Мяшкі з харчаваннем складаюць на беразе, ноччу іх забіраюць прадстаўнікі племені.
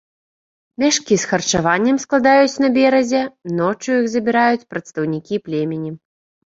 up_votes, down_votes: 2, 0